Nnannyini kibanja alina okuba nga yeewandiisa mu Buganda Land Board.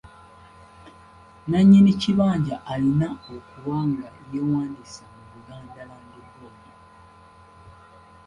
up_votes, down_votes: 1, 2